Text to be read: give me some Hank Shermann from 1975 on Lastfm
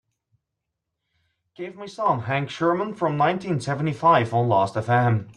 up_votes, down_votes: 0, 2